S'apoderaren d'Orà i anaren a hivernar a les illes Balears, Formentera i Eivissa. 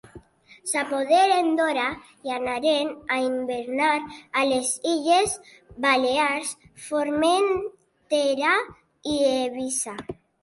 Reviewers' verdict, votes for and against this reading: rejected, 1, 2